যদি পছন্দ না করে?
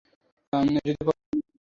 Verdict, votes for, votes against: rejected, 0, 2